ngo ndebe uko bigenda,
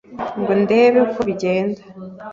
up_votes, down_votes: 2, 0